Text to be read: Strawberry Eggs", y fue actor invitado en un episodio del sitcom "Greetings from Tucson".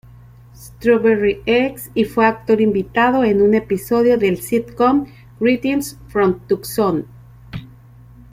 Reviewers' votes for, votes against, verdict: 0, 2, rejected